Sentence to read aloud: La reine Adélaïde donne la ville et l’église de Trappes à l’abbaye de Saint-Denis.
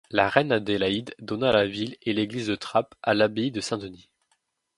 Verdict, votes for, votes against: rejected, 0, 2